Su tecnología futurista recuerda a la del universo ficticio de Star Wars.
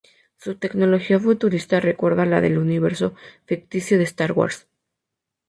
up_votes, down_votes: 2, 0